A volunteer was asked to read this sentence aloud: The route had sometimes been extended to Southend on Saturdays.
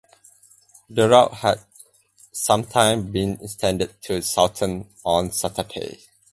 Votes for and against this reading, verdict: 0, 4, rejected